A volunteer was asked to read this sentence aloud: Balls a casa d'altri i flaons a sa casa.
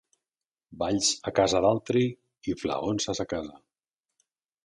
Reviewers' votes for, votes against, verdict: 2, 0, accepted